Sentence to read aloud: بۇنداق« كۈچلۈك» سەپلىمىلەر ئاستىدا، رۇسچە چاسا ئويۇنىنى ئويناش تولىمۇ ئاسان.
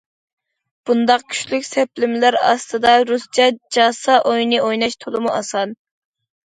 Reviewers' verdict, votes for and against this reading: rejected, 0, 2